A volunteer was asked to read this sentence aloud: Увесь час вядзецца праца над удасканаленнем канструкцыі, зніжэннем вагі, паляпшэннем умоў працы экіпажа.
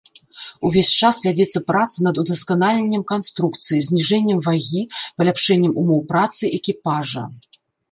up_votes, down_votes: 1, 2